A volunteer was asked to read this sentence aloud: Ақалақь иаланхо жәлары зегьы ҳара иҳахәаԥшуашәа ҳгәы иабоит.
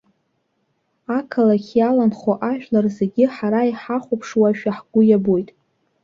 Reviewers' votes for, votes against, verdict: 1, 2, rejected